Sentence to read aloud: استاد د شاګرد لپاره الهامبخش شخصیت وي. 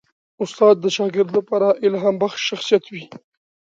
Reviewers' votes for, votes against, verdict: 2, 0, accepted